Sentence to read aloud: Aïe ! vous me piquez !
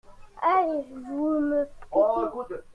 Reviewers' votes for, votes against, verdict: 1, 2, rejected